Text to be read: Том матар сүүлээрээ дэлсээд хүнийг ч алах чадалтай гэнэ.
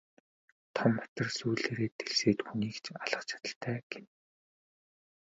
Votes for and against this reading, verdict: 2, 2, rejected